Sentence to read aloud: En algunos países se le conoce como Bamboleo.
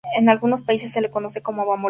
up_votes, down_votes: 2, 0